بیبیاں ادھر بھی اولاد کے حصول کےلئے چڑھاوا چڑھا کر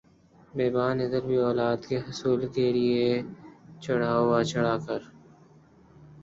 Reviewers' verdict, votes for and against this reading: rejected, 0, 2